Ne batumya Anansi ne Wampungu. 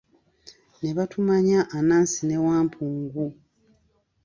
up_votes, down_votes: 1, 2